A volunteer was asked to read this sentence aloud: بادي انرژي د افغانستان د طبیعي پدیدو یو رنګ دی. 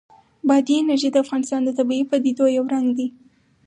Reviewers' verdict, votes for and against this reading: rejected, 2, 2